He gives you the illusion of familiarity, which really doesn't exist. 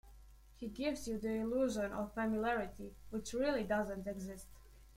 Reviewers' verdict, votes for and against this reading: rejected, 0, 2